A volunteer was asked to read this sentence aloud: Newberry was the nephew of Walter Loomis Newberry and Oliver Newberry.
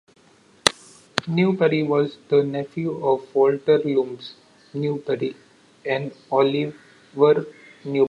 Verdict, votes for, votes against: rejected, 0, 2